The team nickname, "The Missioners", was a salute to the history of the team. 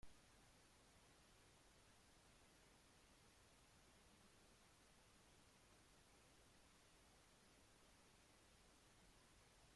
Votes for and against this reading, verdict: 0, 2, rejected